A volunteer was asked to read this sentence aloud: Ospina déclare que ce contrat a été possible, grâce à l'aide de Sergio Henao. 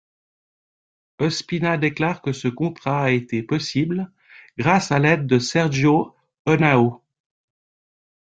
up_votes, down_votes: 2, 1